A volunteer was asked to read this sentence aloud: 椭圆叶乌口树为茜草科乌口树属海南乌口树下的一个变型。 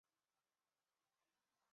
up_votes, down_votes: 1, 3